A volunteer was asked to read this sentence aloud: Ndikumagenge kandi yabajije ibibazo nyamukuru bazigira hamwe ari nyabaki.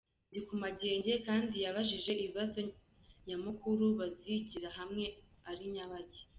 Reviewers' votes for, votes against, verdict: 0, 2, rejected